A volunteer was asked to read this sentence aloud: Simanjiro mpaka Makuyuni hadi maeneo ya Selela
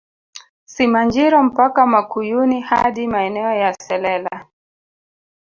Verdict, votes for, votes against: rejected, 1, 2